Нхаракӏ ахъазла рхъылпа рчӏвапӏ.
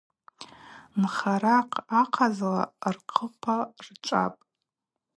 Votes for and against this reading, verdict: 4, 0, accepted